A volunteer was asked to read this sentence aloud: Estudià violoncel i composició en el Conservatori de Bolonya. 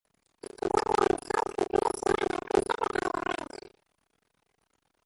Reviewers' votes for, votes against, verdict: 0, 2, rejected